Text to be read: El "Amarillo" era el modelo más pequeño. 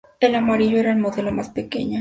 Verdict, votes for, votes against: accepted, 2, 0